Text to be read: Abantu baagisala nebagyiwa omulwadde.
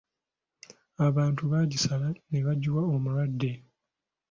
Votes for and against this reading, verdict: 2, 0, accepted